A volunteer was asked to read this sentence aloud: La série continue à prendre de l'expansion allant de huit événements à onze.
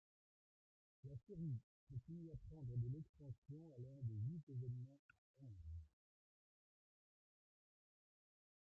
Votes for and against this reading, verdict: 0, 2, rejected